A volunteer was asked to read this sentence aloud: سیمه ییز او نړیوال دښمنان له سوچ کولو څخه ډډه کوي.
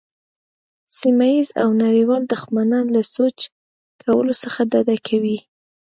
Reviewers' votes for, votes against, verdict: 2, 1, accepted